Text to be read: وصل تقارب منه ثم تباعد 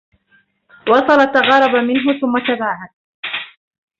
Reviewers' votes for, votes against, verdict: 0, 2, rejected